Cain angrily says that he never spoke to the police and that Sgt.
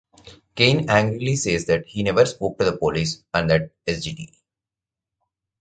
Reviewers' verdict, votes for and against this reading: rejected, 0, 2